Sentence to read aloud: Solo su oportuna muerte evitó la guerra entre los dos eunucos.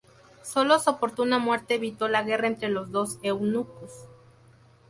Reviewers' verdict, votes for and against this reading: rejected, 2, 2